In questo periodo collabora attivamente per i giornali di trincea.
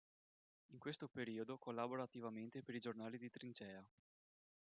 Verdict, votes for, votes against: rejected, 0, 2